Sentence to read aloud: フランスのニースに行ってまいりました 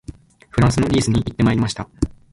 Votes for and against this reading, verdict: 1, 2, rejected